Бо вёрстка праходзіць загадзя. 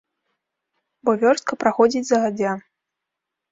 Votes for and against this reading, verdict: 1, 2, rejected